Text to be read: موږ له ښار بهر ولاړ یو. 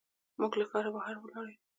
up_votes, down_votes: 2, 0